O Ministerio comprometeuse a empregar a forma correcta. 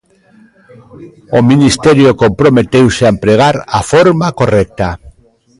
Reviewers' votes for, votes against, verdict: 2, 0, accepted